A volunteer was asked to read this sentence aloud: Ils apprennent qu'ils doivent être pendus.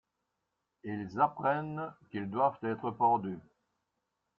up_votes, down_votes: 0, 2